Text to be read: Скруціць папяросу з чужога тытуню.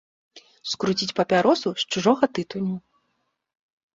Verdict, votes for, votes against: accepted, 2, 0